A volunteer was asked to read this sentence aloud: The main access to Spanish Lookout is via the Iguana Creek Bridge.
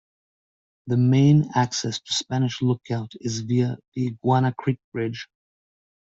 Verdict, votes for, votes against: accepted, 2, 0